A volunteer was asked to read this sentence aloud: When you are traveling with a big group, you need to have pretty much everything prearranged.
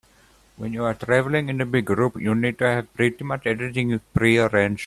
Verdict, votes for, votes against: rejected, 1, 2